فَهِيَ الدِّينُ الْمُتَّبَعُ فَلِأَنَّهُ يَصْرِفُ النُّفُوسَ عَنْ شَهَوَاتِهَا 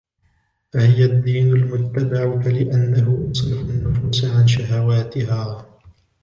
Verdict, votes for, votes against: rejected, 1, 2